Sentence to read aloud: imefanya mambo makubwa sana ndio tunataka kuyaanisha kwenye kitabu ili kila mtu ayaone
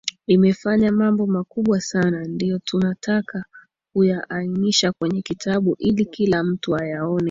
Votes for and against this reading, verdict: 2, 0, accepted